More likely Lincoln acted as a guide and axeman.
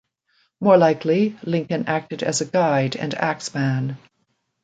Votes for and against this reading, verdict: 2, 0, accepted